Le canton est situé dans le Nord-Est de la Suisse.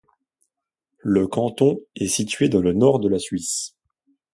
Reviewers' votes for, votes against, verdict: 1, 2, rejected